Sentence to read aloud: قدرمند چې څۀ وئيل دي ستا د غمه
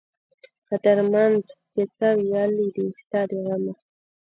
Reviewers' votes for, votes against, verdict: 0, 2, rejected